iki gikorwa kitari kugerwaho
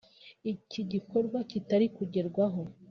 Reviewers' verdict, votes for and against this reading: accepted, 2, 1